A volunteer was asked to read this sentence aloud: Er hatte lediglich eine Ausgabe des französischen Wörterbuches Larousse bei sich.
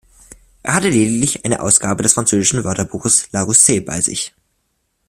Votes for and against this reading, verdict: 2, 1, accepted